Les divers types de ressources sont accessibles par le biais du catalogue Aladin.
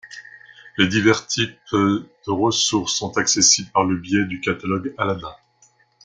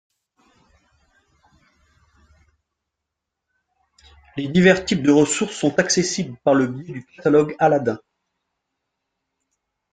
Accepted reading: first